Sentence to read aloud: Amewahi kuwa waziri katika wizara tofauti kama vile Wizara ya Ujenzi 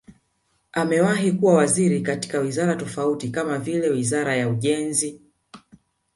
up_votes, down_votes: 6, 0